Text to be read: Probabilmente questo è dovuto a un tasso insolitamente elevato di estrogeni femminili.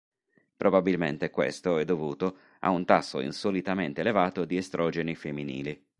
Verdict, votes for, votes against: accepted, 3, 0